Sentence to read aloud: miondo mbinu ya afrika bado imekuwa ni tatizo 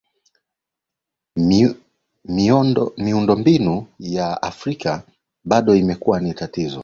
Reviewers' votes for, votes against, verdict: 1, 2, rejected